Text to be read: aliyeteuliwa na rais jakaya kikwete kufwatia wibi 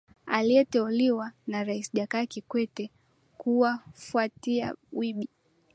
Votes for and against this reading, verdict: 2, 0, accepted